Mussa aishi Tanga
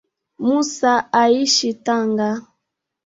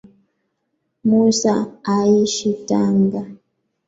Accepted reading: first